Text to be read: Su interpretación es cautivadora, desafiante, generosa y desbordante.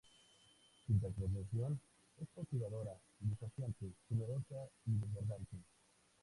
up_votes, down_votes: 0, 2